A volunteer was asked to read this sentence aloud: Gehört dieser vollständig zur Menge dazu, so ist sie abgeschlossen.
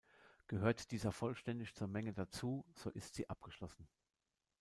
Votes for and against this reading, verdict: 2, 0, accepted